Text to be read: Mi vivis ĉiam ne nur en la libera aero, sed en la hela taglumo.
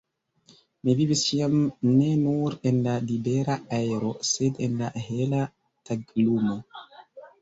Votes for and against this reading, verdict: 2, 0, accepted